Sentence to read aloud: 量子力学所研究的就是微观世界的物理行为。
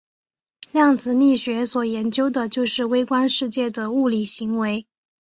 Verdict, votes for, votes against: accepted, 2, 0